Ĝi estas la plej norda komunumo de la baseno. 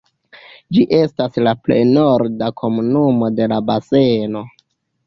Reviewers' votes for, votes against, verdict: 0, 2, rejected